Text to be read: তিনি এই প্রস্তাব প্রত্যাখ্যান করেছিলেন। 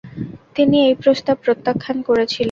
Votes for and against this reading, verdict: 2, 0, accepted